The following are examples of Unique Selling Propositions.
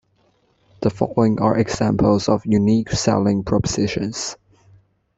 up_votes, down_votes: 2, 1